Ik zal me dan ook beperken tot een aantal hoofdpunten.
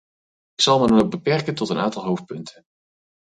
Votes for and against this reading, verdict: 4, 0, accepted